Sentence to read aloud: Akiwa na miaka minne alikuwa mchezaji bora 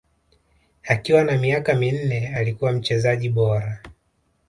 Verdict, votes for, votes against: rejected, 1, 2